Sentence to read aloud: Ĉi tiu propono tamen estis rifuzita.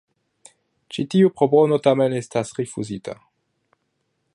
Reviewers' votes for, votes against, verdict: 1, 2, rejected